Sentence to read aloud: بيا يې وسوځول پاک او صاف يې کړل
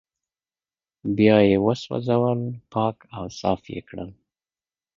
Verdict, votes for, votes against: accepted, 2, 0